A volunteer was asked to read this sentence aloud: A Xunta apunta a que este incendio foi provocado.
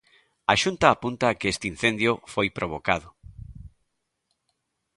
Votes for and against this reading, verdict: 2, 0, accepted